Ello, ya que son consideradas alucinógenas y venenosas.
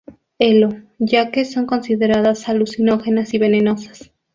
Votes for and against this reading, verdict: 0, 2, rejected